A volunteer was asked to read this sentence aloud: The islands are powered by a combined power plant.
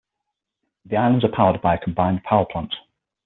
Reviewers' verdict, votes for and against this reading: accepted, 6, 0